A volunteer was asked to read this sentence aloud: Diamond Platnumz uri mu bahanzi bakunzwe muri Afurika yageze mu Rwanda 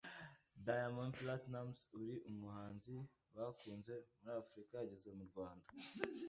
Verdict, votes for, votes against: rejected, 1, 2